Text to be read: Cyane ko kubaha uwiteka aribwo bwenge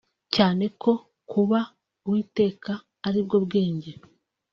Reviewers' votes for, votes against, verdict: 2, 0, accepted